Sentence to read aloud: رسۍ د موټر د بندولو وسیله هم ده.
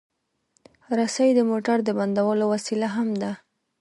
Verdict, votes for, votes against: accepted, 2, 0